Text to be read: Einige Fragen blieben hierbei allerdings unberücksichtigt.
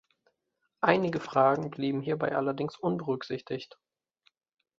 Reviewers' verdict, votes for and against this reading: accepted, 2, 0